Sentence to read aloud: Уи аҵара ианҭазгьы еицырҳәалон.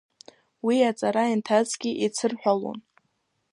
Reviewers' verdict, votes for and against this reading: accepted, 2, 1